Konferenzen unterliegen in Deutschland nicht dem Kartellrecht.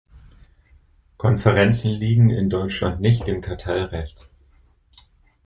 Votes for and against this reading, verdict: 0, 2, rejected